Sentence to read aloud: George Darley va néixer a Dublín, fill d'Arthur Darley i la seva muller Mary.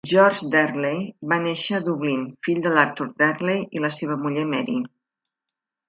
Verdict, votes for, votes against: rejected, 1, 2